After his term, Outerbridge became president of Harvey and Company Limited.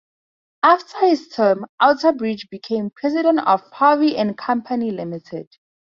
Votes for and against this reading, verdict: 2, 0, accepted